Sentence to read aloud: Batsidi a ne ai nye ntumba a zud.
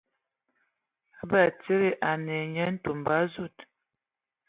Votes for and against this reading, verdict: 2, 0, accepted